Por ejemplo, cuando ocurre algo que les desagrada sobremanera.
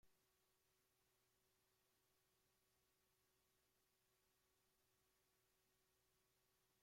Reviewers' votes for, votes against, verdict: 0, 2, rejected